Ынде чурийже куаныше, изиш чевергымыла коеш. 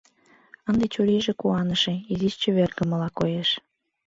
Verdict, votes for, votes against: accepted, 2, 1